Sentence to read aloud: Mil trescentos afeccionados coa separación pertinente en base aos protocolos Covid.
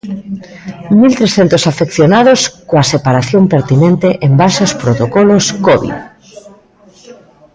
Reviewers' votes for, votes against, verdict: 2, 0, accepted